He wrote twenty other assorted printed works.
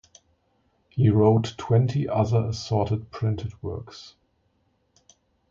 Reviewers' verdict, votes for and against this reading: accepted, 2, 0